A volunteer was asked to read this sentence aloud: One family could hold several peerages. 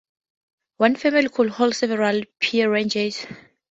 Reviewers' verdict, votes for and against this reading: rejected, 0, 4